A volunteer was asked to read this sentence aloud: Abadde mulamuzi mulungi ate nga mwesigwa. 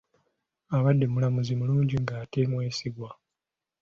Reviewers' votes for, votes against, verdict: 4, 2, accepted